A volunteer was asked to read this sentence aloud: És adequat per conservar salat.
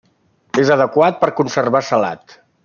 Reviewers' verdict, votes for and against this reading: accepted, 3, 0